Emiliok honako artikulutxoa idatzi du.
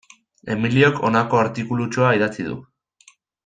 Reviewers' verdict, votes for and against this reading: accepted, 2, 0